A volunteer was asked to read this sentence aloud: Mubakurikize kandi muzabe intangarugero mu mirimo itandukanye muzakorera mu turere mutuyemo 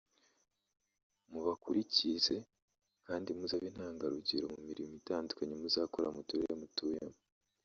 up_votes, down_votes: 1, 2